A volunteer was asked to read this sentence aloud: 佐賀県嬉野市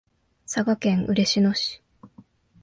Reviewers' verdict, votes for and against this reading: accepted, 7, 0